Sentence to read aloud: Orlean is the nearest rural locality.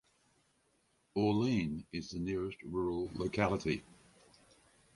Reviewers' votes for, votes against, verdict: 4, 0, accepted